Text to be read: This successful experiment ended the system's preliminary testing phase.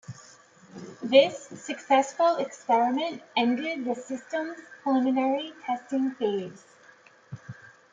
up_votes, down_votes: 2, 1